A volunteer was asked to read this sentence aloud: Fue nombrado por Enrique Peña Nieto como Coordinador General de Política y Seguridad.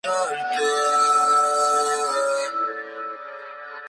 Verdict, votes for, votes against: rejected, 0, 2